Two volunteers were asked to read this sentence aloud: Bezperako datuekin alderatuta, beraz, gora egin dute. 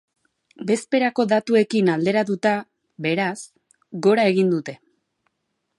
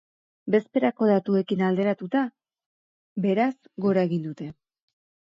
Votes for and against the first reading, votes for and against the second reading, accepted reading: 2, 0, 2, 2, first